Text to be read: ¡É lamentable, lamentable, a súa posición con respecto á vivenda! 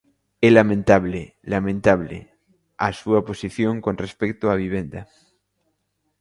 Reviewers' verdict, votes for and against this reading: accepted, 2, 0